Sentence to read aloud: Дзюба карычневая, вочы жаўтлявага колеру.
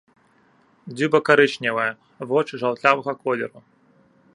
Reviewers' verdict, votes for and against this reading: accepted, 2, 0